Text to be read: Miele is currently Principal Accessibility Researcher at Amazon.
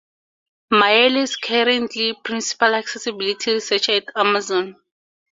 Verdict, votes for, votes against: rejected, 0, 4